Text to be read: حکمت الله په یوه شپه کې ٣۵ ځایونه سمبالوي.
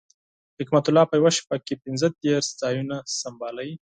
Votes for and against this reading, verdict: 0, 2, rejected